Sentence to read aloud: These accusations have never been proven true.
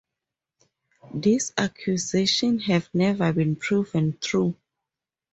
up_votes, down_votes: 2, 2